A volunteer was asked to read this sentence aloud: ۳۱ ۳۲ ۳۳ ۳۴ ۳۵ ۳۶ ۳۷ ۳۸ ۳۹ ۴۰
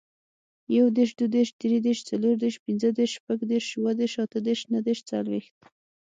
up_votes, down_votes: 0, 2